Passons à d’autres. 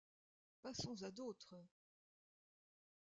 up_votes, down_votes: 0, 2